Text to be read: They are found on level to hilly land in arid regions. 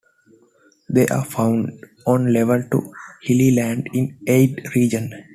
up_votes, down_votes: 0, 2